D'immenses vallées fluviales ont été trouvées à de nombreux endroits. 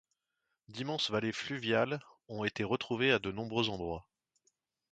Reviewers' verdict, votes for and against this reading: rejected, 1, 2